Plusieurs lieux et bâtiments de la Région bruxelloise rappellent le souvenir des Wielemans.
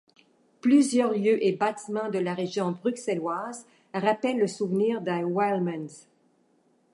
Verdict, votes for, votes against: rejected, 1, 2